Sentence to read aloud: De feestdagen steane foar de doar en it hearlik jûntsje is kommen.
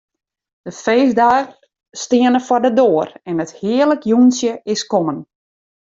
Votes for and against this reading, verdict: 1, 2, rejected